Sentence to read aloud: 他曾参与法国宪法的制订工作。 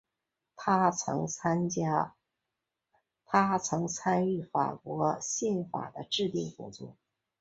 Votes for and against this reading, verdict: 0, 2, rejected